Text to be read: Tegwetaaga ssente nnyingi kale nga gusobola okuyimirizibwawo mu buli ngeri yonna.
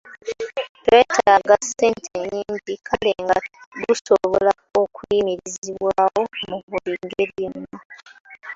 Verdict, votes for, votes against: rejected, 1, 2